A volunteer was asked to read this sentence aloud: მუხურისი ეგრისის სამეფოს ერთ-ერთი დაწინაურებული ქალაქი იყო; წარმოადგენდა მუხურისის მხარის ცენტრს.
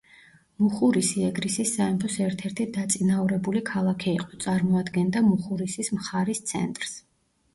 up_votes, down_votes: 0, 2